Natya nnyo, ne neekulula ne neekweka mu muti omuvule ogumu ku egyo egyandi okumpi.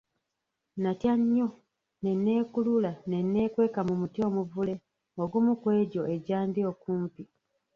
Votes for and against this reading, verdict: 1, 2, rejected